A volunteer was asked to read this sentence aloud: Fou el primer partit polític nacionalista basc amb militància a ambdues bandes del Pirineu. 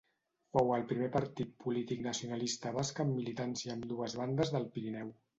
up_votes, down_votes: 0, 2